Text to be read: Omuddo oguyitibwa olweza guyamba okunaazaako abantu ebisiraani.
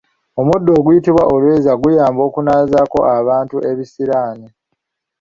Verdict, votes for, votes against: accepted, 2, 0